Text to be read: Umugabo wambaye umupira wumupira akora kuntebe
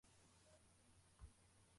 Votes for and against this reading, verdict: 0, 2, rejected